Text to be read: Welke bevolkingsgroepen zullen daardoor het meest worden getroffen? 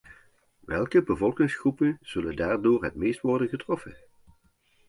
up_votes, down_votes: 2, 0